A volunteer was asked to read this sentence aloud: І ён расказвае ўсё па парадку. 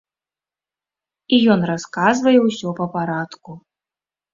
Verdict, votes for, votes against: accepted, 2, 0